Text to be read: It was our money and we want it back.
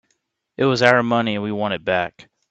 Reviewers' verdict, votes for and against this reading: accepted, 3, 0